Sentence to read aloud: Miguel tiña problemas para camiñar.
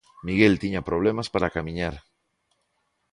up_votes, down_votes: 2, 0